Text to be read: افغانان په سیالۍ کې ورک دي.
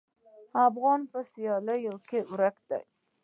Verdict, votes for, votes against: accepted, 2, 0